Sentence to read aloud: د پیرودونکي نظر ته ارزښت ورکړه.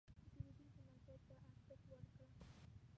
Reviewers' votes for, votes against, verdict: 1, 2, rejected